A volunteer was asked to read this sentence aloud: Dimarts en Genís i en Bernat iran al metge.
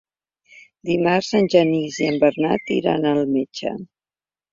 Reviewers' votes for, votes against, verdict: 3, 0, accepted